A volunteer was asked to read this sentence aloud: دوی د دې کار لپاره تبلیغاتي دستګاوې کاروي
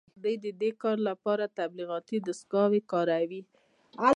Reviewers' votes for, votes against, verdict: 2, 1, accepted